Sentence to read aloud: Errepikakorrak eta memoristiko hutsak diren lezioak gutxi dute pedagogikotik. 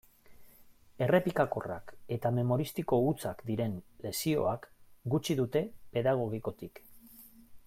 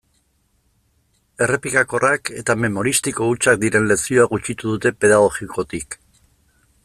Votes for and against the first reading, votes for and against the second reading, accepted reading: 2, 0, 0, 2, first